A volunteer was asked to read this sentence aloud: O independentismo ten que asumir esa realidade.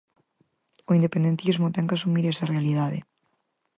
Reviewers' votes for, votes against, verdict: 6, 0, accepted